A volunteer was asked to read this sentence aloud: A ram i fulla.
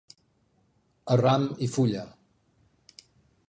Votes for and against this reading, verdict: 2, 0, accepted